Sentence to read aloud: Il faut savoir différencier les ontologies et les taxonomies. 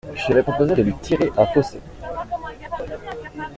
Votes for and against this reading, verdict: 0, 2, rejected